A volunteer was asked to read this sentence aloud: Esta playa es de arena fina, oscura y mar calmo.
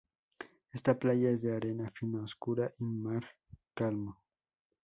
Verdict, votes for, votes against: accepted, 2, 0